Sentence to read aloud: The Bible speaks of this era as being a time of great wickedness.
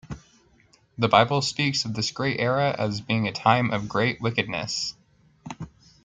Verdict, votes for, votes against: rejected, 0, 2